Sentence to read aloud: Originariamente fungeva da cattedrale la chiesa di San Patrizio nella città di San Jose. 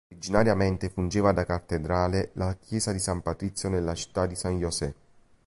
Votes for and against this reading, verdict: 2, 3, rejected